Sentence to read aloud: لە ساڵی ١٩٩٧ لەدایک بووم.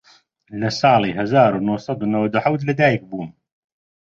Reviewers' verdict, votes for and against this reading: rejected, 0, 2